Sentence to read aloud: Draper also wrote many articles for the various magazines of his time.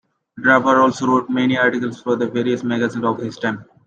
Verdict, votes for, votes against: accepted, 2, 0